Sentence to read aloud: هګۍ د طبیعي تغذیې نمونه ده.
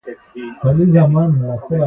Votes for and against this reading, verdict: 0, 3, rejected